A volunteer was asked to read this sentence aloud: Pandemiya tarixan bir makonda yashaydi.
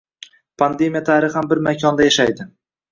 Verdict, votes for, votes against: accepted, 2, 0